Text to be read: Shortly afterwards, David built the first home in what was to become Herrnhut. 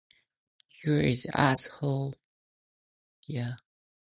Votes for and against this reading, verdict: 0, 2, rejected